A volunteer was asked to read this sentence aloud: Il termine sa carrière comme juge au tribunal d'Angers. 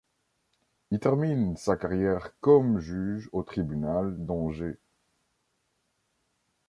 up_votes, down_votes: 1, 2